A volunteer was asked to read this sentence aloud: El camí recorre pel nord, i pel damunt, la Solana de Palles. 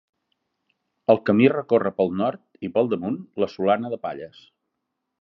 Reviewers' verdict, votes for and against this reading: accepted, 3, 0